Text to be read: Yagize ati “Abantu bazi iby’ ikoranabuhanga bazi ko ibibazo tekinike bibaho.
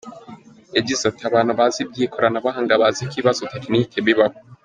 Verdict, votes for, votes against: accepted, 2, 0